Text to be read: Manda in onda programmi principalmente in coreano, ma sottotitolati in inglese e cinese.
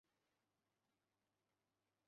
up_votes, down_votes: 0, 2